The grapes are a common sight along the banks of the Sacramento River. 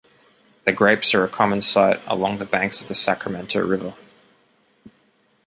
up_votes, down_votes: 2, 0